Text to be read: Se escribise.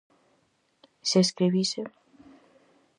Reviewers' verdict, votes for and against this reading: accepted, 4, 0